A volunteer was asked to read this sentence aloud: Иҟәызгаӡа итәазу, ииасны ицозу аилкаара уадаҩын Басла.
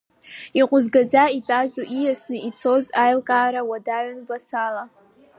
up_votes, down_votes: 2, 3